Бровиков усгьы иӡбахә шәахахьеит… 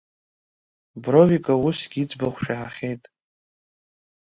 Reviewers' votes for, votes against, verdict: 2, 0, accepted